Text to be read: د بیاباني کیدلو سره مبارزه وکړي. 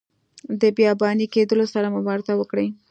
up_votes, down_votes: 2, 0